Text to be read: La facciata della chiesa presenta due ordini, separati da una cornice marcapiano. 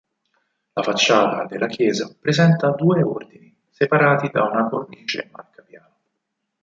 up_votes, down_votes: 2, 6